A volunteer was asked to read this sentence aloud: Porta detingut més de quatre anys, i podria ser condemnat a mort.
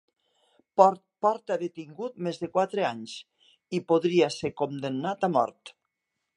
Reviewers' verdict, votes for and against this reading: rejected, 1, 2